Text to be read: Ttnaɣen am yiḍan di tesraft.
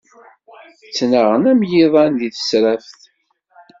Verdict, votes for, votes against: accepted, 2, 0